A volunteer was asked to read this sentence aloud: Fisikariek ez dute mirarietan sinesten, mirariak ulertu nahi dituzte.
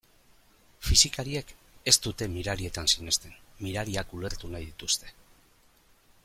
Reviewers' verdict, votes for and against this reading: accepted, 2, 0